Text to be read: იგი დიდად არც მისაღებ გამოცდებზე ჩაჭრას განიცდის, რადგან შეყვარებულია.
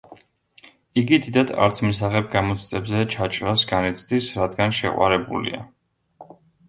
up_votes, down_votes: 2, 0